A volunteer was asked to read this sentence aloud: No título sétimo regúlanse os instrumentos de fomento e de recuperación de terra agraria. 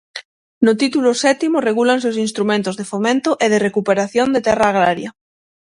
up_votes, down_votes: 6, 0